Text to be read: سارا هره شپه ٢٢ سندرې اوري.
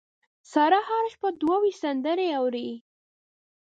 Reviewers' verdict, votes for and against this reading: rejected, 0, 2